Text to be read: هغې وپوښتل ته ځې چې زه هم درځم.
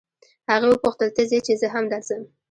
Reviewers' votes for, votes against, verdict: 1, 2, rejected